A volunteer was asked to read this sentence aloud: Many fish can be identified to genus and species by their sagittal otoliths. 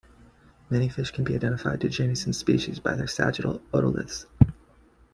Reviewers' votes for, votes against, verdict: 2, 0, accepted